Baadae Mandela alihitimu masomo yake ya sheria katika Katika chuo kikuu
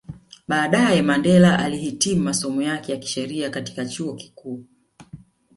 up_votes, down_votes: 2, 0